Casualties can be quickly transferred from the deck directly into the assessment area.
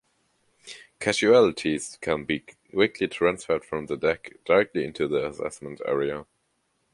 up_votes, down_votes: 2, 0